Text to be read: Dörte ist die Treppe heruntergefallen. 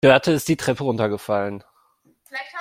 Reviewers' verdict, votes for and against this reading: rejected, 0, 2